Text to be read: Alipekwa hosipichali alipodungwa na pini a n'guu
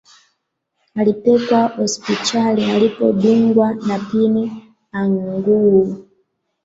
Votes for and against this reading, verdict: 0, 2, rejected